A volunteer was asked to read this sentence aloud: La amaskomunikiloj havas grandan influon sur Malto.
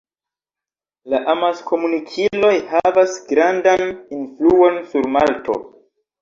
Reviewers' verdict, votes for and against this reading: accepted, 2, 1